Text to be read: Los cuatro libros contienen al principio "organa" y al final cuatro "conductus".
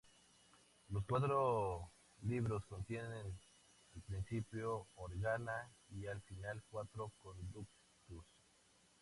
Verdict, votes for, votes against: rejected, 0, 2